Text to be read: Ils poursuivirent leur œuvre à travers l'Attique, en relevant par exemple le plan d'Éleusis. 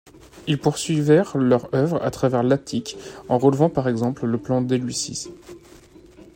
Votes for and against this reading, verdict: 1, 2, rejected